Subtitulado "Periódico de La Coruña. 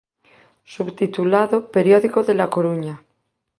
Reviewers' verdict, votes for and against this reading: accepted, 3, 0